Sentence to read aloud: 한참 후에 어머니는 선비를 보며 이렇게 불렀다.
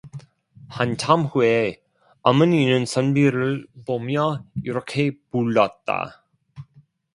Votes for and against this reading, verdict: 0, 2, rejected